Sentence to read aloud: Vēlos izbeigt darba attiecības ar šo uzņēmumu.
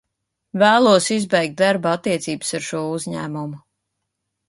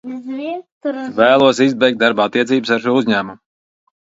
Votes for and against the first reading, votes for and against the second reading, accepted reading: 3, 0, 0, 2, first